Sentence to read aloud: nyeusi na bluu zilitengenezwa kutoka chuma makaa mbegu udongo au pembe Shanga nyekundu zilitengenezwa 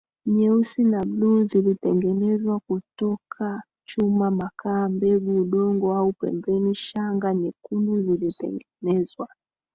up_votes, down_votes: 1, 2